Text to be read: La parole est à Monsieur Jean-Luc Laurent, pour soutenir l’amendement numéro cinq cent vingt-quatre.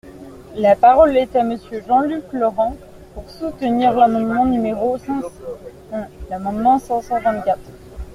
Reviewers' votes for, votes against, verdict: 1, 2, rejected